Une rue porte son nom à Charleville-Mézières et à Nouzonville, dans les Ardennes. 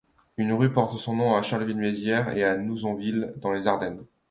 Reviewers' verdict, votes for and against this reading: accepted, 2, 0